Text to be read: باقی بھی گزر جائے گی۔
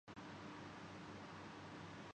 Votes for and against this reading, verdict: 0, 2, rejected